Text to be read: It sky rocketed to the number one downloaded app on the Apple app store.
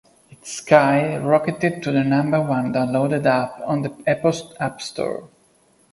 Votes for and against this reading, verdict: 2, 0, accepted